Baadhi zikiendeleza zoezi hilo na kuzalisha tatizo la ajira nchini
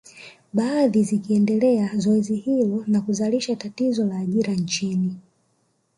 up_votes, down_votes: 0, 2